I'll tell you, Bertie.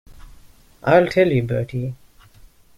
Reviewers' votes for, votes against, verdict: 2, 0, accepted